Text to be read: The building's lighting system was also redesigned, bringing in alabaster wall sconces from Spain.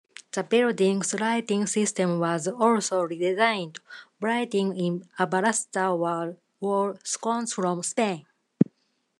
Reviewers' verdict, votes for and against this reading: rejected, 0, 2